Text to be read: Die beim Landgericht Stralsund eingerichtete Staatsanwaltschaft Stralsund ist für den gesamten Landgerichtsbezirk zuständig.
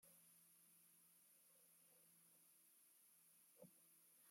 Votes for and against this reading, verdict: 0, 2, rejected